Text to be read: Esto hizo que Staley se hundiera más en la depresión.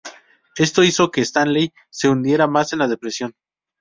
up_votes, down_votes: 0, 2